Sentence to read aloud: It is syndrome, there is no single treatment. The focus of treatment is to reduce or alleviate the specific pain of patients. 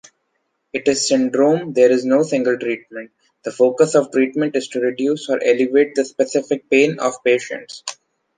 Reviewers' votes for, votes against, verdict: 2, 0, accepted